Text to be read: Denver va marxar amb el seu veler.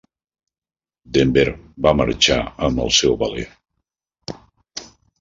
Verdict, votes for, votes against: rejected, 1, 2